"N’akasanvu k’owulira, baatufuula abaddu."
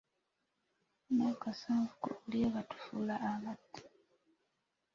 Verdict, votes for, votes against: rejected, 1, 2